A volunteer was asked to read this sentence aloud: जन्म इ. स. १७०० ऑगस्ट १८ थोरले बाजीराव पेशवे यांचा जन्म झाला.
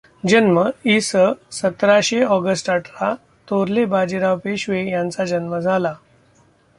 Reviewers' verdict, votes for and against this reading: rejected, 0, 2